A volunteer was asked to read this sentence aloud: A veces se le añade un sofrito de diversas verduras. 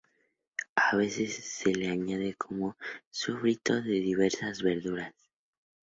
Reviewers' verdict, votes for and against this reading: rejected, 0, 2